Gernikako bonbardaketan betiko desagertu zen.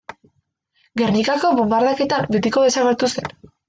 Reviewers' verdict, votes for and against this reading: accepted, 2, 0